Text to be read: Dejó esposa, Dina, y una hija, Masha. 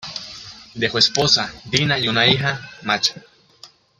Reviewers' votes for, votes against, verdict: 2, 1, accepted